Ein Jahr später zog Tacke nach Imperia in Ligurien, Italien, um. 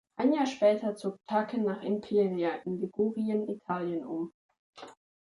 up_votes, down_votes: 3, 1